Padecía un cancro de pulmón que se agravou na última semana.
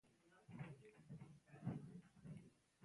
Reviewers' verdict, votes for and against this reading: rejected, 0, 2